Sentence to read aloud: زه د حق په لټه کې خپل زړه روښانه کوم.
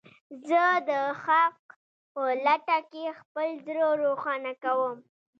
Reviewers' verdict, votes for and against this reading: rejected, 1, 2